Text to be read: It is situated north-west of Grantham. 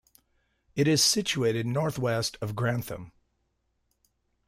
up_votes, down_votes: 2, 0